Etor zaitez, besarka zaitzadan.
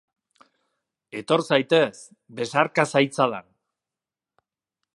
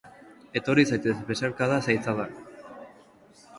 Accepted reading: first